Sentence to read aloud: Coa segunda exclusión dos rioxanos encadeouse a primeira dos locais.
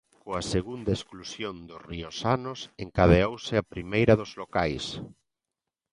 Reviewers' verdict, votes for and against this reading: accepted, 2, 0